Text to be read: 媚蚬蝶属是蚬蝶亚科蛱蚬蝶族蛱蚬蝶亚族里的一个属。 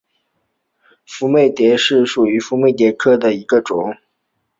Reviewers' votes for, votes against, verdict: 4, 3, accepted